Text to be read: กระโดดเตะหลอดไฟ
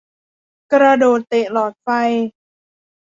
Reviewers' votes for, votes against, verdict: 2, 0, accepted